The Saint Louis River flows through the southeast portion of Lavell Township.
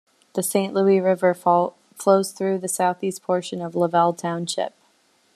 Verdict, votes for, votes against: rejected, 1, 2